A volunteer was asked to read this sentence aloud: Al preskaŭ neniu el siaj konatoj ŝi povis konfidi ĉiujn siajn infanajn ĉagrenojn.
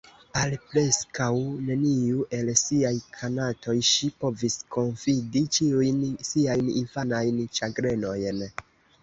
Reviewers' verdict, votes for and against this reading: accepted, 2, 1